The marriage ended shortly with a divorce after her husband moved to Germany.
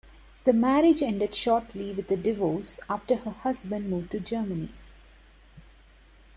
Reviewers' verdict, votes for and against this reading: accepted, 2, 0